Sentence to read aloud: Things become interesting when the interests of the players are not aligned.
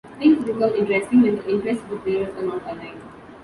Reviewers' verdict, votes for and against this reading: rejected, 2, 3